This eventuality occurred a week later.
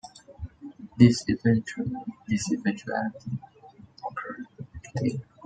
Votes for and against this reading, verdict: 2, 1, accepted